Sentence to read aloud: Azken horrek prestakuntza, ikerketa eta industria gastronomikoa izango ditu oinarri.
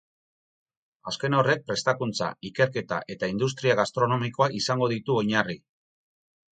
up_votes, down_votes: 2, 2